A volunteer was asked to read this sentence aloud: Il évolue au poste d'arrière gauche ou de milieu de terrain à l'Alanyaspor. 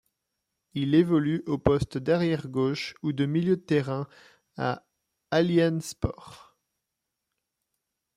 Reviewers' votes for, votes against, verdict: 1, 2, rejected